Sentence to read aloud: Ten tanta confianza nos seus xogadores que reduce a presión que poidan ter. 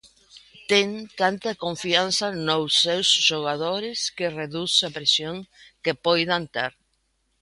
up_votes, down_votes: 1, 2